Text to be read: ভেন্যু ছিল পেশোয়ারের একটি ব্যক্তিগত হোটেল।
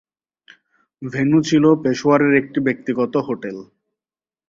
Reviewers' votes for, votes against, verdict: 17, 1, accepted